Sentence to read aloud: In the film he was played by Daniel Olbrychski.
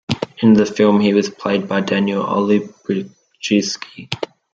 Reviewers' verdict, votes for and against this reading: rejected, 1, 2